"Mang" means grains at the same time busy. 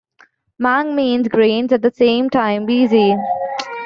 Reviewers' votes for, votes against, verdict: 2, 1, accepted